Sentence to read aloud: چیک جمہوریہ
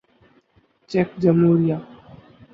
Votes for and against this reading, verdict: 2, 2, rejected